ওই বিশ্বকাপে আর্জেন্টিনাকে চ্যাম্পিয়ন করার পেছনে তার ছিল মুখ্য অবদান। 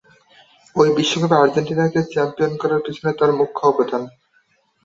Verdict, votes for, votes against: accepted, 2, 0